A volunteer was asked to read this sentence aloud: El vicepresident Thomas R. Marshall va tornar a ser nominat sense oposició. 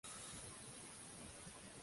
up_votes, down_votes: 0, 2